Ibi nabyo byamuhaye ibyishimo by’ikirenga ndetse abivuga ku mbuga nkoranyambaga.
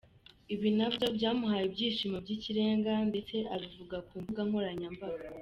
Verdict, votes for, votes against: accepted, 2, 0